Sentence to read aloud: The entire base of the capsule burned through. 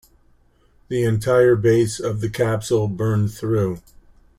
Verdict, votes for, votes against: accepted, 2, 0